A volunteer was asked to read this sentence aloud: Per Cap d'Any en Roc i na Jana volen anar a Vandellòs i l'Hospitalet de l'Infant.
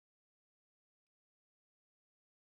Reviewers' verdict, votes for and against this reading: rejected, 0, 2